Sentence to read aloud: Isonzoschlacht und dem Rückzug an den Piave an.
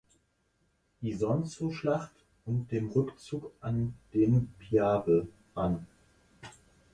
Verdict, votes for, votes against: accepted, 4, 2